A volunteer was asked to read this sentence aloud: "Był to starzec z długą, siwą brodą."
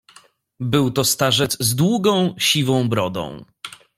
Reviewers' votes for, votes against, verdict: 2, 0, accepted